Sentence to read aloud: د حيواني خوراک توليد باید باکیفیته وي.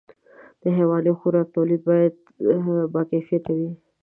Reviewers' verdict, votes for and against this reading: rejected, 1, 2